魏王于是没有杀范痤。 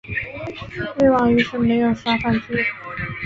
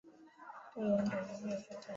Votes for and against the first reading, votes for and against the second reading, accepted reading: 2, 0, 1, 2, first